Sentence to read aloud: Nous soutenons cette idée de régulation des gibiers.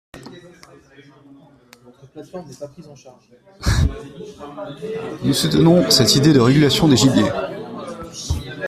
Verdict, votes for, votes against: rejected, 0, 2